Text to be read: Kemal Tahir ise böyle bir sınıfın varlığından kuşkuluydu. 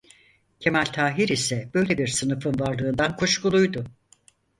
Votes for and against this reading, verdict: 4, 0, accepted